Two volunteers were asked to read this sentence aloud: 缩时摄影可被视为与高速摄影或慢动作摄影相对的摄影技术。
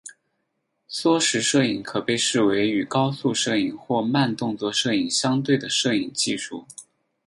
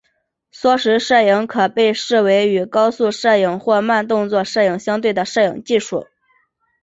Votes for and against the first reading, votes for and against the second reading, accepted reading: 2, 2, 2, 0, second